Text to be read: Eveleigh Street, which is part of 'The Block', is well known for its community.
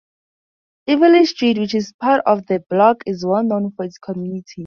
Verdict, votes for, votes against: accepted, 4, 0